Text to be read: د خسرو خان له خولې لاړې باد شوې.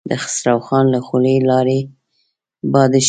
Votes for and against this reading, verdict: 1, 2, rejected